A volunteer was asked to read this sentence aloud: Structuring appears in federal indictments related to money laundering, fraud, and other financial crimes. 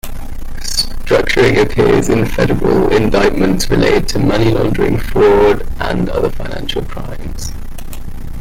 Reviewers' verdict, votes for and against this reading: accepted, 2, 1